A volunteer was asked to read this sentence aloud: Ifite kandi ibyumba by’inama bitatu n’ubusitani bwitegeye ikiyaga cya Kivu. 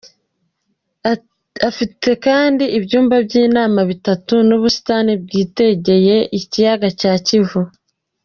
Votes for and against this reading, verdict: 1, 2, rejected